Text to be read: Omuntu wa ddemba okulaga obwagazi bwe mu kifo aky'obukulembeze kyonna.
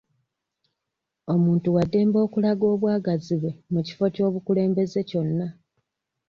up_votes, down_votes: 1, 2